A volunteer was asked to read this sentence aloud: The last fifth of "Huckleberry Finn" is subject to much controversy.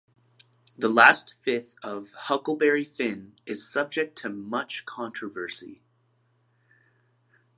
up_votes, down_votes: 2, 0